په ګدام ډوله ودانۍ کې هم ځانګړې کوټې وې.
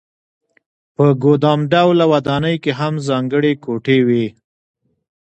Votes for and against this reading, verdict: 2, 1, accepted